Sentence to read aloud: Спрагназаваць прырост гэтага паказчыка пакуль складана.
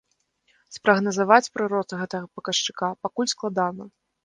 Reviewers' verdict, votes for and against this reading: rejected, 0, 2